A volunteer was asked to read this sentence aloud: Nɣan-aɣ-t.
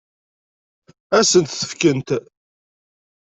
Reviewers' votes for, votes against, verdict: 0, 2, rejected